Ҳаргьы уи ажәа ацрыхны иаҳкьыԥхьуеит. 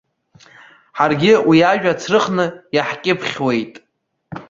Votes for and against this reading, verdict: 2, 1, accepted